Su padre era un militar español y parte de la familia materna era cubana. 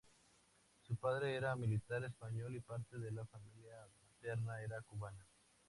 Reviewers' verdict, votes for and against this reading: accepted, 2, 0